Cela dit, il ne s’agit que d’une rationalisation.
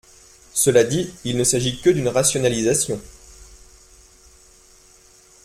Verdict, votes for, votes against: accepted, 2, 0